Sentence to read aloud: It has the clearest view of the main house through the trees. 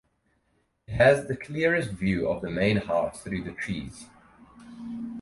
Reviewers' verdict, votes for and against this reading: rejected, 0, 4